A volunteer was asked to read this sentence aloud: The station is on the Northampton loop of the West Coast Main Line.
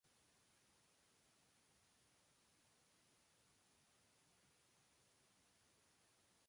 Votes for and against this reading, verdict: 0, 2, rejected